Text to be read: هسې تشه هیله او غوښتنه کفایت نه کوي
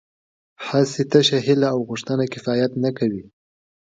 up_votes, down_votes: 3, 0